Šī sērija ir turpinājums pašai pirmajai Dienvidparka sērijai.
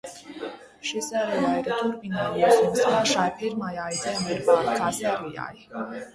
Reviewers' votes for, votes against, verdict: 1, 2, rejected